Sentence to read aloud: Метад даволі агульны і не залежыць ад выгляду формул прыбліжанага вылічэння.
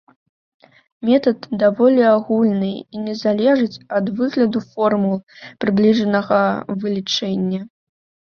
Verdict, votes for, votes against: accepted, 2, 0